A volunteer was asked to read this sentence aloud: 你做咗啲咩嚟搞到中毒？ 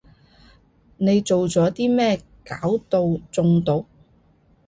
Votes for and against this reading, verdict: 0, 2, rejected